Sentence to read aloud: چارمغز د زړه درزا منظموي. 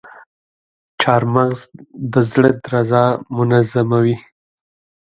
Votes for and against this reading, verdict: 2, 0, accepted